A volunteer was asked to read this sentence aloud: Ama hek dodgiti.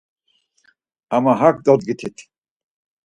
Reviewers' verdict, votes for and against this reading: rejected, 0, 4